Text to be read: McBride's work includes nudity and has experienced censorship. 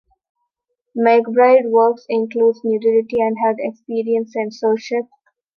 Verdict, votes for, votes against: rejected, 0, 2